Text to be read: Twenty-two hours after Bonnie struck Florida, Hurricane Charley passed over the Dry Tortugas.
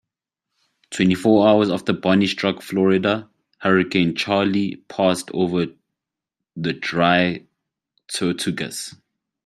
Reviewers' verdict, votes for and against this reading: rejected, 0, 2